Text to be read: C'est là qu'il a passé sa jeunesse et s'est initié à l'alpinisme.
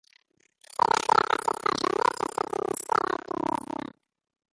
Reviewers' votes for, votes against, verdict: 0, 2, rejected